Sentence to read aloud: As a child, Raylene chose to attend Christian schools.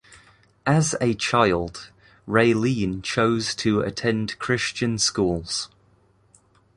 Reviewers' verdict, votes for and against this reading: accepted, 2, 0